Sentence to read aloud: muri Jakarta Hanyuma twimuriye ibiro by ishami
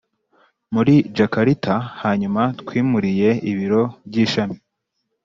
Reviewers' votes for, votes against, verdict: 2, 0, accepted